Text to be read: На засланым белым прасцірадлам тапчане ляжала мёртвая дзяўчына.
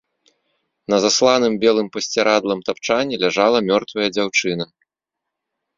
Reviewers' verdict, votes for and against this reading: rejected, 2, 3